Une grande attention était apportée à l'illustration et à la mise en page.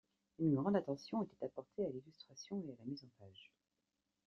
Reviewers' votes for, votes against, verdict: 2, 1, accepted